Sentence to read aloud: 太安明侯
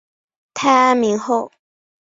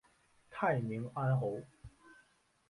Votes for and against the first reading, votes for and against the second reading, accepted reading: 3, 0, 0, 2, first